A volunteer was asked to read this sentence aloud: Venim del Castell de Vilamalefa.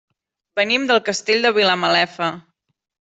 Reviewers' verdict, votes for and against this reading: accepted, 3, 0